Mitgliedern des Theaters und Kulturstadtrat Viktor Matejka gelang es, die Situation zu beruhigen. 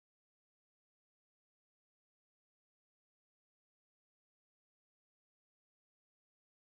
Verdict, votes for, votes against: rejected, 0, 2